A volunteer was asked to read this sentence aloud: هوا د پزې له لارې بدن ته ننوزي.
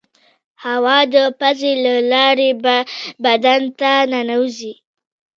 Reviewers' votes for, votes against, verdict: 1, 2, rejected